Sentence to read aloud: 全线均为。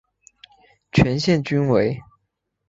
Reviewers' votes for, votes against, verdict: 2, 0, accepted